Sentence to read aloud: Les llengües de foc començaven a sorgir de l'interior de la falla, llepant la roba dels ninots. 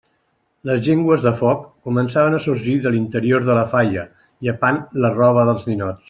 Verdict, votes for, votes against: accepted, 2, 0